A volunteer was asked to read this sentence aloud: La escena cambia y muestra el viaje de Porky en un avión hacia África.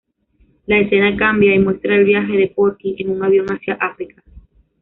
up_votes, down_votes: 2, 0